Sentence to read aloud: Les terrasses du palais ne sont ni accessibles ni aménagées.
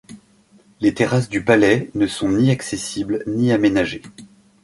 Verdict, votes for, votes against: accepted, 2, 0